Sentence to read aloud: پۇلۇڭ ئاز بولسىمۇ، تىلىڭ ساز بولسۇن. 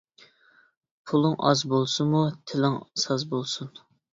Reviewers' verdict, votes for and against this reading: accepted, 2, 0